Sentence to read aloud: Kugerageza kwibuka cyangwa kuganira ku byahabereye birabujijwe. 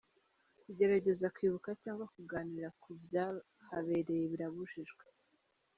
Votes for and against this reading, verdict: 3, 0, accepted